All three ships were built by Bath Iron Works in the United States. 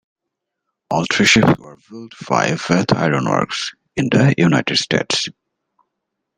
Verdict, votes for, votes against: rejected, 0, 2